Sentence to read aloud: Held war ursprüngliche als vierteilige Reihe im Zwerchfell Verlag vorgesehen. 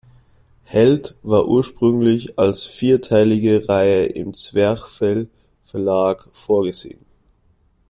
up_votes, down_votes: 1, 2